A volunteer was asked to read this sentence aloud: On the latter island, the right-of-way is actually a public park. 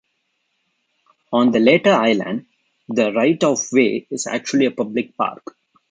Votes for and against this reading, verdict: 0, 2, rejected